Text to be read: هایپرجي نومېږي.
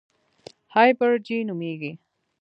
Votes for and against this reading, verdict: 1, 2, rejected